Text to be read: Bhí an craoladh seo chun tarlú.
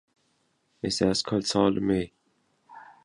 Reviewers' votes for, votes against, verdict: 0, 2, rejected